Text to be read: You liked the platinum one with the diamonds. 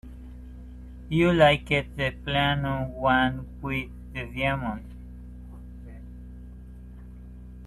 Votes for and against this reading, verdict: 2, 4, rejected